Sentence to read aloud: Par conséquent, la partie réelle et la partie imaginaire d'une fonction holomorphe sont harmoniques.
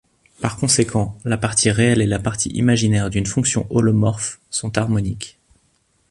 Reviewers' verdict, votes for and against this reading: accepted, 2, 0